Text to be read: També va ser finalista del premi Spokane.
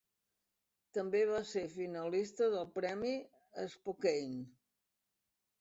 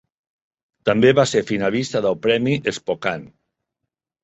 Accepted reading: second